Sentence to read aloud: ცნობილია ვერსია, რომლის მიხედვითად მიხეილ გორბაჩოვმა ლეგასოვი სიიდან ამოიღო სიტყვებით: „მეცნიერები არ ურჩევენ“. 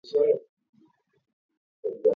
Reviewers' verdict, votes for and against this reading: rejected, 0, 2